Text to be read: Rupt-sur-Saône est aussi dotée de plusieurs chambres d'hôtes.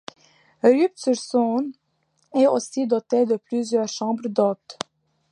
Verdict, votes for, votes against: rejected, 1, 2